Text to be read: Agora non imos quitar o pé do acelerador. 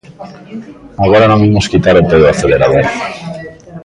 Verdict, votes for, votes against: accepted, 2, 1